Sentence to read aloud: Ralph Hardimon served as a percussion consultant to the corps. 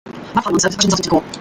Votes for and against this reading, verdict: 0, 2, rejected